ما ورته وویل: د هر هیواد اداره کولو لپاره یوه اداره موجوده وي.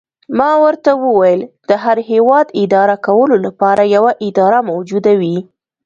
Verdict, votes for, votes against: accepted, 2, 0